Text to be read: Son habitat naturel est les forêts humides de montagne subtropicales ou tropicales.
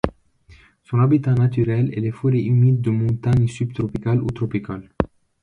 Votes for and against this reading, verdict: 1, 2, rejected